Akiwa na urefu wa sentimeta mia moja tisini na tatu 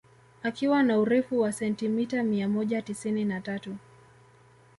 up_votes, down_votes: 2, 0